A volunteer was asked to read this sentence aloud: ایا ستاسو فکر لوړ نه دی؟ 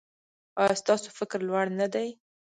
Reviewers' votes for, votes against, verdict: 1, 2, rejected